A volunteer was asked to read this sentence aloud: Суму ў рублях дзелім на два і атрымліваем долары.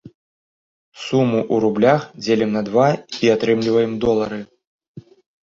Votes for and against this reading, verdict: 2, 0, accepted